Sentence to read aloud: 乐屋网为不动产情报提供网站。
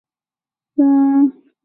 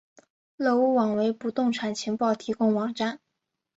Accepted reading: second